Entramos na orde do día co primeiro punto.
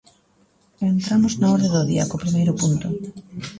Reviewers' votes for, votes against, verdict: 2, 0, accepted